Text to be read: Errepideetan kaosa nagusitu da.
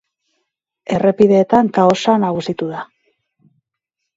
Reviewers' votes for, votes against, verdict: 2, 0, accepted